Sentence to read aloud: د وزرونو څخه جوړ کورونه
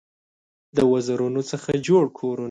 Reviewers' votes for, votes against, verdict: 0, 2, rejected